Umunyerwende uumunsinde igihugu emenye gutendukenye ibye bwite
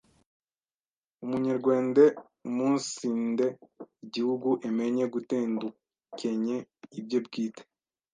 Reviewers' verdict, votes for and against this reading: rejected, 1, 2